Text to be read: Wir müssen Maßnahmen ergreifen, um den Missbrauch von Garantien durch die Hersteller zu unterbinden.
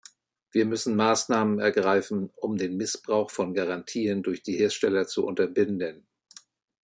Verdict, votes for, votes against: accepted, 2, 0